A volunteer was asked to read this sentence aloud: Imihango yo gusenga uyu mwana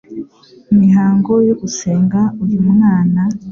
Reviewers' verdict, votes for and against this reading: accepted, 2, 0